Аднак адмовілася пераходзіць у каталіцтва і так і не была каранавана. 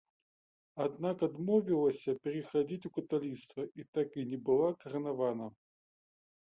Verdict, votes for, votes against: rejected, 1, 2